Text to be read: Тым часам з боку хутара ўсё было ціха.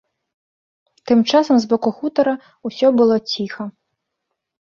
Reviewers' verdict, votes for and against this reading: accepted, 3, 0